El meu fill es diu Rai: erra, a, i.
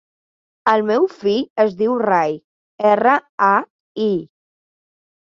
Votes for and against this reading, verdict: 3, 0, accepted